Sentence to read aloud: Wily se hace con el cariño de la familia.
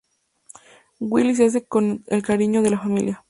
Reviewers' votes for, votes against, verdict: 2, 0, accepted